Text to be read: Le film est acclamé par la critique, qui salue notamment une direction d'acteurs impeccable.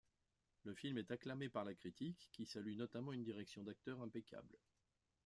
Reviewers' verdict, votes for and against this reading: accepted, 2, 1